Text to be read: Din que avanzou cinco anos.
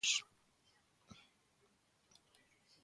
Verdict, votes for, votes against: rejected, 0, 2